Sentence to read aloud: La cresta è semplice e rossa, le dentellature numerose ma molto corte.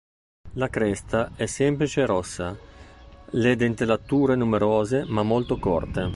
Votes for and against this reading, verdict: 4, 0, accepted